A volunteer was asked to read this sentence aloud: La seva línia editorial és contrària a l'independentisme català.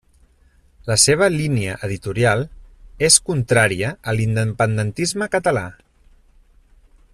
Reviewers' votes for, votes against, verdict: 0, 2, rejected